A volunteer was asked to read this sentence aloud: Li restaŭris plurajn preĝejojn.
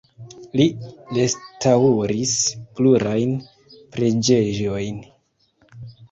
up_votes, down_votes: 1, 3